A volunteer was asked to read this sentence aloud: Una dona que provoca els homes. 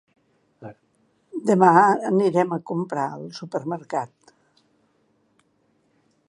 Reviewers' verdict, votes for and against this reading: rejected, 0, 2